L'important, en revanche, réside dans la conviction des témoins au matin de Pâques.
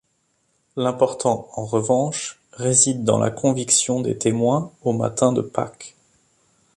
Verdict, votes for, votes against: accepted, 2, 0